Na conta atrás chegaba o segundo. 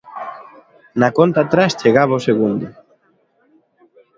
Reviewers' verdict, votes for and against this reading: accepted, 3, 0